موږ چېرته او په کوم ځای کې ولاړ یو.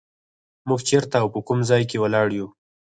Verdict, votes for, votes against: rejected, 2, 4